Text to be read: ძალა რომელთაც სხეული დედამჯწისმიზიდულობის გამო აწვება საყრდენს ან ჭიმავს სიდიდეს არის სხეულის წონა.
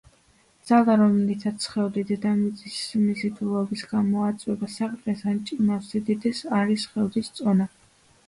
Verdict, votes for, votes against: rejected, 1, 2